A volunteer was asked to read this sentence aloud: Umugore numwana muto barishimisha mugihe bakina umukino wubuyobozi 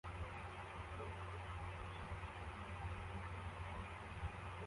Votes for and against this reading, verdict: 0, 2, rejected